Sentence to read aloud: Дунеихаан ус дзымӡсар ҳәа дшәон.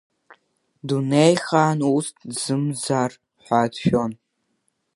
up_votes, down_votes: 0, 2